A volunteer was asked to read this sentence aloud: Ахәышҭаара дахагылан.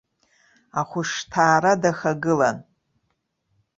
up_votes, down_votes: 2, 0